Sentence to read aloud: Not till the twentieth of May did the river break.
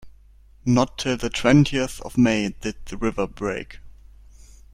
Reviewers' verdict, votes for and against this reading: accepted, 2, 0